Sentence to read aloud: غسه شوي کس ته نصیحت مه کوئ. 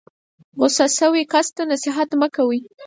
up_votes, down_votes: 4, 0